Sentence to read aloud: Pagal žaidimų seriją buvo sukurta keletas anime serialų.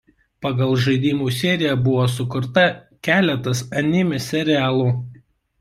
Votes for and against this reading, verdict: 1, 2, rejected